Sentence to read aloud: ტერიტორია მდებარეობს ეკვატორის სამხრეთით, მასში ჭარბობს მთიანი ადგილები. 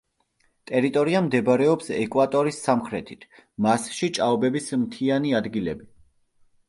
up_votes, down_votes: 0, 2